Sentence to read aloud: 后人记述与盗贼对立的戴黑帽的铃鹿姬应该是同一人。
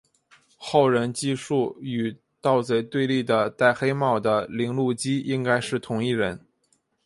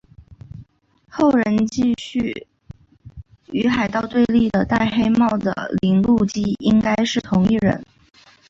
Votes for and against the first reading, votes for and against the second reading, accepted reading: 2, 0, 0, 2, first